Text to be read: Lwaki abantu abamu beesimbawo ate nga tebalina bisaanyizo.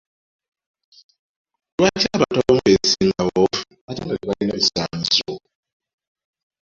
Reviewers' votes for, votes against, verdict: 0, 2, rejected